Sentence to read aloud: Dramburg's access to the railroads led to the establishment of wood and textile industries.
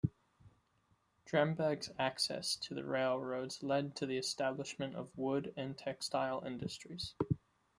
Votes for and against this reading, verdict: 0, 2, rejected